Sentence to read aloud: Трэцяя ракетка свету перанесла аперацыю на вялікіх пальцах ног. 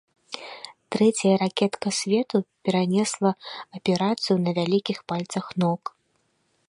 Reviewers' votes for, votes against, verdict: 0, 2, rejected